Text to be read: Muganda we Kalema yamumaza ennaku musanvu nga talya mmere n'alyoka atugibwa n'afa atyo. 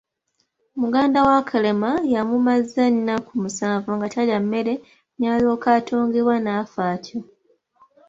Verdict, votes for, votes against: rejected, 1, 2